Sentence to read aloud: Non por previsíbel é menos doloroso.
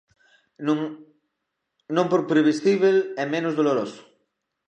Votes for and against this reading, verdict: 0, 2, rejected